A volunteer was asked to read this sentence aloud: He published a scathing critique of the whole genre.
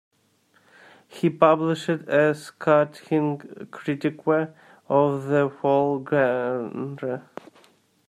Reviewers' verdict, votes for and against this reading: rejected, 0, 2